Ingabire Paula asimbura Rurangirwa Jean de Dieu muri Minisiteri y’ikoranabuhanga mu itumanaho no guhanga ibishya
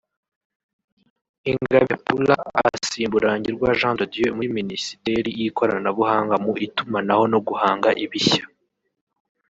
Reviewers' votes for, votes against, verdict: 1, 2, rejected